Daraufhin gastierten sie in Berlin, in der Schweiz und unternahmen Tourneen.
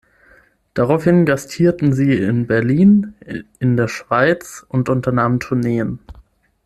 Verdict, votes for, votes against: rejected, 3, 6